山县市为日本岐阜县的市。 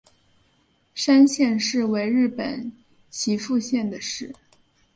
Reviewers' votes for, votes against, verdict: 4, 0, accepted